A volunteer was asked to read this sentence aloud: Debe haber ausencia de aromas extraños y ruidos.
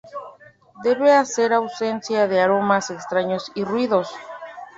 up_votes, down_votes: 0, 2